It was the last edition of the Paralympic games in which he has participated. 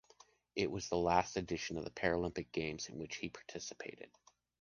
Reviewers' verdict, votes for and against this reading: rejected, 0, 2